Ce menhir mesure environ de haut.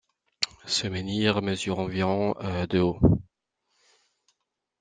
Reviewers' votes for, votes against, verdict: 2, 0, accepted